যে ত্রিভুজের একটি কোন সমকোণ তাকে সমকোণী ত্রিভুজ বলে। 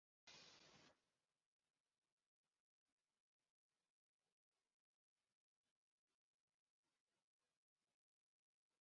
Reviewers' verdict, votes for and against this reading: rejected, 0, 3